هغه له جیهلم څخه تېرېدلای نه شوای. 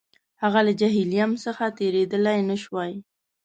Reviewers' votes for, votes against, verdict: 2, 0, accepted